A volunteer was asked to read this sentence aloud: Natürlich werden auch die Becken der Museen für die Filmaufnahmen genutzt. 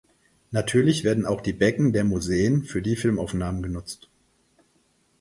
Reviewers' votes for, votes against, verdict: 4, 0, accepted